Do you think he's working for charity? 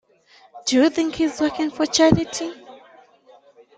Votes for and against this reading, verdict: 2, 1, accepted